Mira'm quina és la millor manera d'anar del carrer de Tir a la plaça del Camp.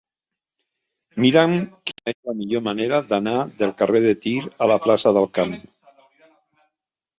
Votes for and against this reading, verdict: 1, 3, rejected